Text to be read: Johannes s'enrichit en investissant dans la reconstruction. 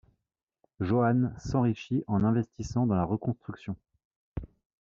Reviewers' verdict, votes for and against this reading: rejected, 1, 2